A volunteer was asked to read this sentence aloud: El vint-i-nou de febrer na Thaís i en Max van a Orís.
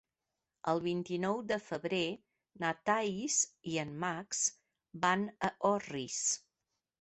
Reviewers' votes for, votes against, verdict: 0, 2, rejected